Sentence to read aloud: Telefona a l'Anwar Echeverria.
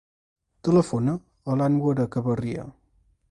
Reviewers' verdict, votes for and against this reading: rejected, 2, 3